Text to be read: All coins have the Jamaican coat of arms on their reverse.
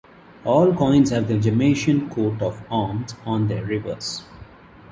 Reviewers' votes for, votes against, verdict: 1, 2, rejected